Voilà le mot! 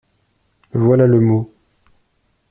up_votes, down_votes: 2, 0